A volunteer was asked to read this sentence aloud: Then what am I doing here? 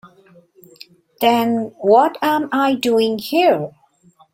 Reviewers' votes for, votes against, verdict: 2, 0, accepted